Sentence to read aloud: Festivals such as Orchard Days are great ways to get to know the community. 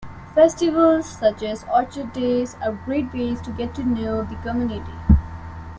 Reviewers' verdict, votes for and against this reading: accepted, 2, 0